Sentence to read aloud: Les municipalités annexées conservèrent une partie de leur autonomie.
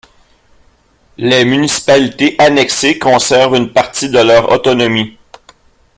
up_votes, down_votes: 1, 2